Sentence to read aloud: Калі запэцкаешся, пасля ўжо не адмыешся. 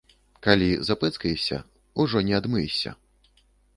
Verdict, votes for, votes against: rejected, 1, 2